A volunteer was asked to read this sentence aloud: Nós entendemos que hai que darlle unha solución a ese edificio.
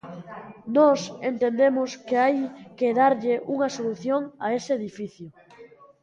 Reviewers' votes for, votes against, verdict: 0, 2, rejected